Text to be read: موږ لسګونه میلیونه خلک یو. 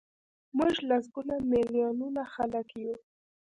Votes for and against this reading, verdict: 0, 2, rejected